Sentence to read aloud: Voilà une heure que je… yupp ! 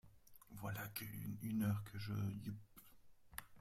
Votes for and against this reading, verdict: 0, 2, rejected